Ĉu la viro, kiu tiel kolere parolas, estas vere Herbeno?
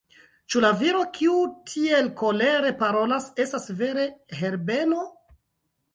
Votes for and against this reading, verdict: 1, 2, rejected